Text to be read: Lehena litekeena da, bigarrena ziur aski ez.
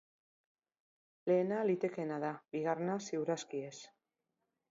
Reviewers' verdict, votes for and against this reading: accepted, 3, 0